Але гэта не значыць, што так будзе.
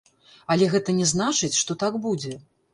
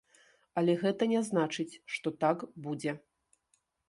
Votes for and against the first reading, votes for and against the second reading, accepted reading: 0, 2, 2, 0, second